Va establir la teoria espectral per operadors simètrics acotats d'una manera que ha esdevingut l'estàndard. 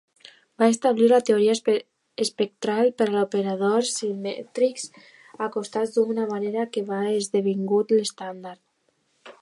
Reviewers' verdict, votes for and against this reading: rejected, 0, 2